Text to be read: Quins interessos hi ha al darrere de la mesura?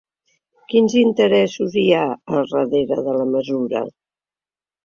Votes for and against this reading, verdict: 2, 0, accepted